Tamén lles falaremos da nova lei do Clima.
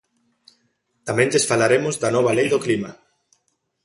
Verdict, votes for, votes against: accepted, 2, 0